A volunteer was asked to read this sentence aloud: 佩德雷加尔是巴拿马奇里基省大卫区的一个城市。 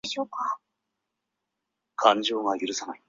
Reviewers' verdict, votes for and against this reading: rejected, 0, 2